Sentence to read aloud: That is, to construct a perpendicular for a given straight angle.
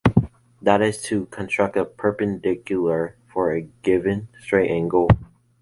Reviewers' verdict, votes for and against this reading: rejected, 1, 2